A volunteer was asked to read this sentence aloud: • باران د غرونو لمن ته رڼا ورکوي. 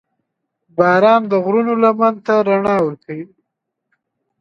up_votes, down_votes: 2, 0